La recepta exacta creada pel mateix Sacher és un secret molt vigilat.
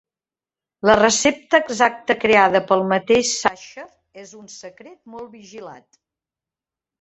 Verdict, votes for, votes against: rejected, 1, 2